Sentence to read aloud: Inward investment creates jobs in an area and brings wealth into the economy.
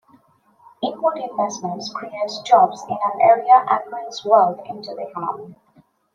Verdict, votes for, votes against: accepted, 2, 1